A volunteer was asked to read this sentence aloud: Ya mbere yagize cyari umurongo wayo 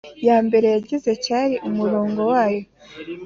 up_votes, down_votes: 3, 0